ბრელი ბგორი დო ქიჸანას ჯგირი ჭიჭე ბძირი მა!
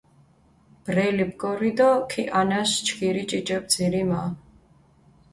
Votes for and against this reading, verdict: 2, 0, accepted